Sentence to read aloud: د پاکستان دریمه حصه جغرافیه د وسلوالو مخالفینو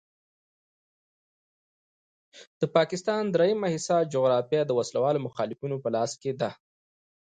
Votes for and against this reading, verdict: 0, 2, rejected